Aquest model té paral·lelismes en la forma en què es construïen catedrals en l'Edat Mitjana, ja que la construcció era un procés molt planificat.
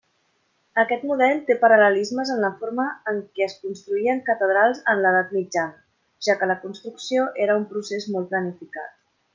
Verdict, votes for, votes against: accepted, 2, 0